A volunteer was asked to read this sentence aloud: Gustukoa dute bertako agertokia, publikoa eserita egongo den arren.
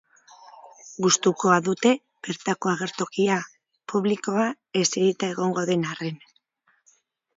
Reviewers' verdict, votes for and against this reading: accepted, 4, 0